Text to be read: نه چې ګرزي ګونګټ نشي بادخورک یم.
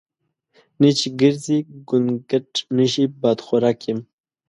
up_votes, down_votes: 1, 2